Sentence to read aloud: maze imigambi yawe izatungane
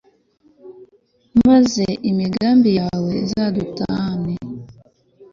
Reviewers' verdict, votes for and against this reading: rejected, 1, 2